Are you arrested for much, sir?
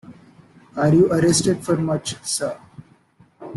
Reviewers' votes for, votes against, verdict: 2, 0, accepted